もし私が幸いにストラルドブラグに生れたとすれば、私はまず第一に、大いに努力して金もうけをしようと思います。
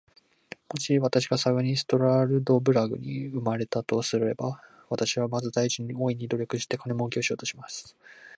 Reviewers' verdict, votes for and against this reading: rejected, 0, 2